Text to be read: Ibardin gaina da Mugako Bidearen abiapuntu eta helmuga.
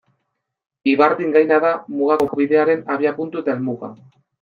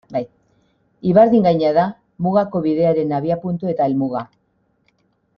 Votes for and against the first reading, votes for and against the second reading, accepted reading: 2, 0, 1, 2, first